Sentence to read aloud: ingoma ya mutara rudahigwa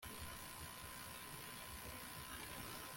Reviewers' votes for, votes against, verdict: 0, 2, rejected